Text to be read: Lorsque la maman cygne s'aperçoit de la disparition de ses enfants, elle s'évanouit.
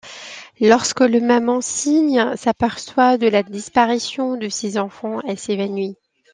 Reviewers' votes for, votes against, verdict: 1, 2, rejected